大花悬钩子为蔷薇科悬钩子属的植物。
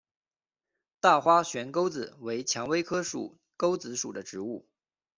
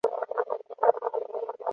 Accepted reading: first